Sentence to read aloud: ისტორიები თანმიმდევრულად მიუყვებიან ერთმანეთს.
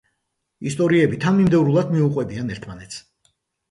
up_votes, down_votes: 2, 0